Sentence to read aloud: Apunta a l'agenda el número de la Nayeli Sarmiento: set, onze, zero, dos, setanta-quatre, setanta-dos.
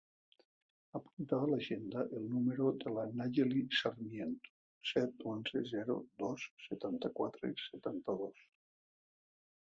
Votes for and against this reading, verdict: 1, 2, rejected